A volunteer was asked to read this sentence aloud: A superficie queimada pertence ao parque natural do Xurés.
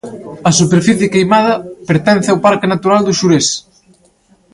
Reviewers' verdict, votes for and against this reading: accepted, 2, 0